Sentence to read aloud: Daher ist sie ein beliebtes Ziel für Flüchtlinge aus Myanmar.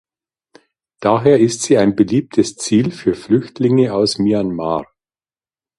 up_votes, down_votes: 2, 0